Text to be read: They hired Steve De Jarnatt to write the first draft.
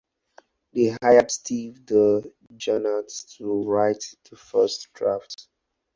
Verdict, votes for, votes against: accepted, 4, 2